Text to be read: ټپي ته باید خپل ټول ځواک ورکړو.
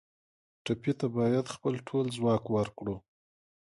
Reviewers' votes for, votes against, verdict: 4, 0, accepted